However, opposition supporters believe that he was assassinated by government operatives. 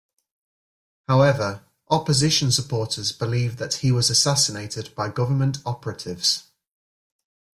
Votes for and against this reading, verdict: 2, 0, accepted